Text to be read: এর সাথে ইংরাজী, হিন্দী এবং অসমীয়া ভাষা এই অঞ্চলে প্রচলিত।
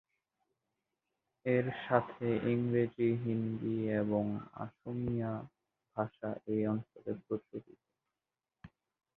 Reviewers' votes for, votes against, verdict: 1, 7, rejected